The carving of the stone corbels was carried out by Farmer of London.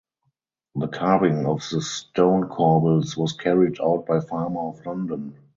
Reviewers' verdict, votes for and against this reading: accepted, 4, 2